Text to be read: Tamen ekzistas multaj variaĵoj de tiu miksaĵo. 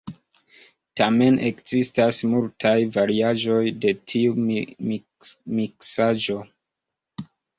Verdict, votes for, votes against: accepted, 2, 1